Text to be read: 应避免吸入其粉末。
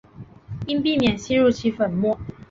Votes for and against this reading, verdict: 9, 0, accepted